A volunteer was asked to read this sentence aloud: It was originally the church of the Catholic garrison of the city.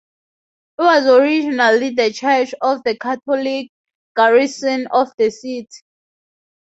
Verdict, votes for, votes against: rejected, 0, 2